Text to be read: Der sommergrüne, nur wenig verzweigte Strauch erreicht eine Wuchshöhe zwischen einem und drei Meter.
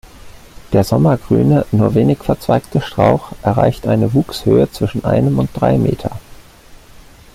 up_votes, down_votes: 2, 0